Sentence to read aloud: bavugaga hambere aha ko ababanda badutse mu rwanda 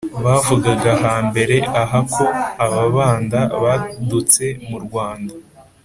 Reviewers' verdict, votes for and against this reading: accepted, 2, 0